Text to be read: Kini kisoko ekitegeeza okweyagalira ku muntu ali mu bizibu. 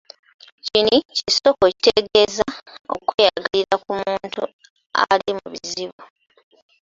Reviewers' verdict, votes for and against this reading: accepted, 2, 0